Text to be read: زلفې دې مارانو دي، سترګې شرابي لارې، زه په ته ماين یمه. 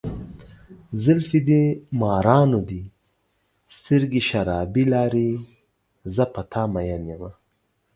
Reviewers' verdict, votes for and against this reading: rejected, 0, 2